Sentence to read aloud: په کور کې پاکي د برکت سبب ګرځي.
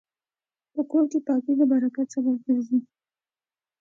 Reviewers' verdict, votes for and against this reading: accepted, 2, 0